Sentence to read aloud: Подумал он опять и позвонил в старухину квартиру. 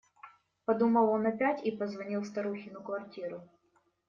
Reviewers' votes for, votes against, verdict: 2, 0, accepted